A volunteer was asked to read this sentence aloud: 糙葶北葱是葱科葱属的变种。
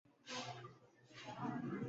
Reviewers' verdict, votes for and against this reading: rejected, 0, 2